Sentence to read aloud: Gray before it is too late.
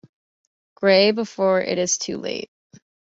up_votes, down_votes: 2, 0